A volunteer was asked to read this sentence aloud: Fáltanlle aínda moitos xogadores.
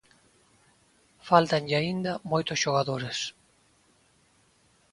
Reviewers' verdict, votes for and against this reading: accepted, 2, 0